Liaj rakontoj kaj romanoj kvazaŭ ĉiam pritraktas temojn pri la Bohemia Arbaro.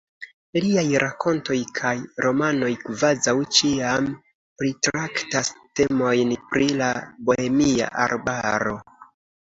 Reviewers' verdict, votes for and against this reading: accepted, 2, 0